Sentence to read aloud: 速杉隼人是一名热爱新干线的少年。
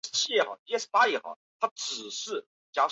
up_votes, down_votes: 0, 2